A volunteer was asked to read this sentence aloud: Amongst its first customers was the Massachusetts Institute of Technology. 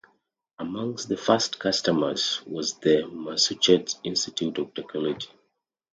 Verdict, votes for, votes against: rejected, 0, 2